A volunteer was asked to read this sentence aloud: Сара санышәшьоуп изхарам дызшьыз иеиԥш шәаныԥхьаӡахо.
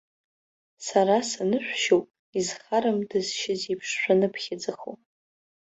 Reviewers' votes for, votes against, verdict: 3, 0, accepted